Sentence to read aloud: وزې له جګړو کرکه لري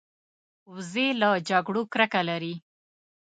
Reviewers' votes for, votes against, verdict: 2, 0, accepted